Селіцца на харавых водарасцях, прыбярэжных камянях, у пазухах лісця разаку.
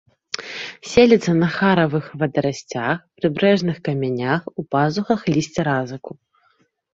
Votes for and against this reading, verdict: 0, 2, rejected